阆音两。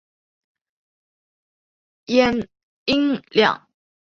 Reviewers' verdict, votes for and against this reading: accepted, 2, 1